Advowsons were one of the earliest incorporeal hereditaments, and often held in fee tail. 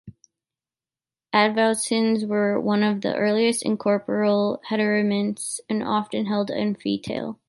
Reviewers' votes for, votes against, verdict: 0, 2, rejected